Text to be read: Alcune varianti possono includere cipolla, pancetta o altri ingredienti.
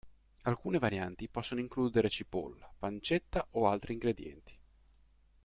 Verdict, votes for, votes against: accepted, 2, 0